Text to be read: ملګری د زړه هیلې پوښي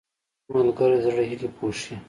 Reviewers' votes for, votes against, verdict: 1, 2, rejected